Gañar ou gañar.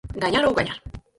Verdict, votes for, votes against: rejected, 0, 4